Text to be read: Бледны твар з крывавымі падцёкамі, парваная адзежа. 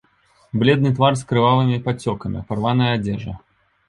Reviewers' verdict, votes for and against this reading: accepted, 2, 0